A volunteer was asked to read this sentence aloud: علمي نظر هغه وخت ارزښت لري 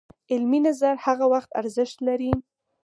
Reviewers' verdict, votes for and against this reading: accepted, 4, 0